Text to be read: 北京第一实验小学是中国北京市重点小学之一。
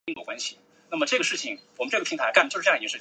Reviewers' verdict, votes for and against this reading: rejected, 0, 2